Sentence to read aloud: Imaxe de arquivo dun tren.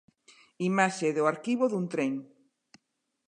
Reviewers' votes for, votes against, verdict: 0, 2, rejected